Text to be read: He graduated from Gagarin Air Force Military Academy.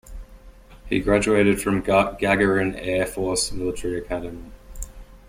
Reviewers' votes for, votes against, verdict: 0, 2, rejected